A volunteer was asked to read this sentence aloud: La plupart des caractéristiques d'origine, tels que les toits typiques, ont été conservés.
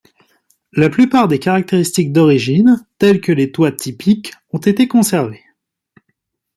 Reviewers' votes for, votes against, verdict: 2, 0, accepted